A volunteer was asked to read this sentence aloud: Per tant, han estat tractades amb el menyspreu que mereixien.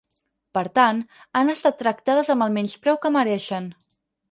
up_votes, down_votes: 0, 4